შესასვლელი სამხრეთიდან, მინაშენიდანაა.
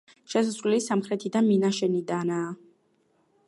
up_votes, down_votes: 1, 2